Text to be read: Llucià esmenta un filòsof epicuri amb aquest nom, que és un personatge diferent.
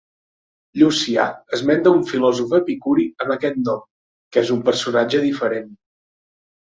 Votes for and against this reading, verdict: 3, 0, accepted